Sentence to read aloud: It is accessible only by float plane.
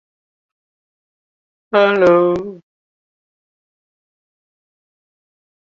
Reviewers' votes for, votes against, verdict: 0, 2, rejected